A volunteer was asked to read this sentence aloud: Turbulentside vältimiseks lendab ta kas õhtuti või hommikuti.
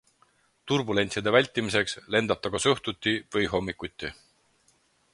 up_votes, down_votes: 4, 0